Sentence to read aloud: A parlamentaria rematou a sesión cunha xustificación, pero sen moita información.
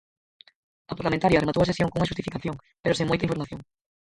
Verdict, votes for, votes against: rejected, 0, 4